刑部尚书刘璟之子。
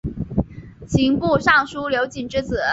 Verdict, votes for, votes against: accepted, 2, 0